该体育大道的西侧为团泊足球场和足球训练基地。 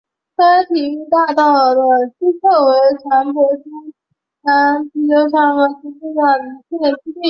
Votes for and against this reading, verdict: 1, 3, rejected